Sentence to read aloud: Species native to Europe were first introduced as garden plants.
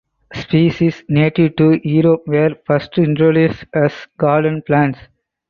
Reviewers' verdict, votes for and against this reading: accepted, 4, 0